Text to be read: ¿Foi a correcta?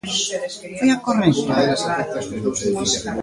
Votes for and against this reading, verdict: 1, 2, rejected